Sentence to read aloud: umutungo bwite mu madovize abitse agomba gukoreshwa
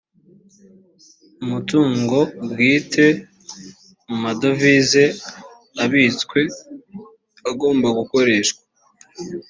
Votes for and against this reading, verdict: 1, 2, rejected